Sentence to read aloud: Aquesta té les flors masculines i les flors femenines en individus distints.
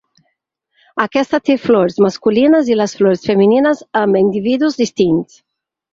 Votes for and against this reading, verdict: 2, 4, rejected